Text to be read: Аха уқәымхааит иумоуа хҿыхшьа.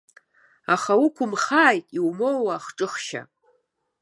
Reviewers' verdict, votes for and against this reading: accepted, 3, 0